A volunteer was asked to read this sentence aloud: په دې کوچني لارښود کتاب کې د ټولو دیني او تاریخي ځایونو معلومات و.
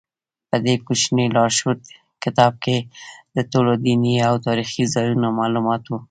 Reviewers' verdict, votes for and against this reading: accepted, 2, 1